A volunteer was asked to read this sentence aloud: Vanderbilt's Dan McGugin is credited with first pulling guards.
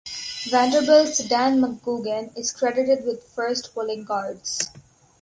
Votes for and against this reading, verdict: 4, 0, accepted